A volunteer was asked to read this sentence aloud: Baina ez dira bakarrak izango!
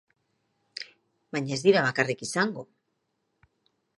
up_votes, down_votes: 1, 2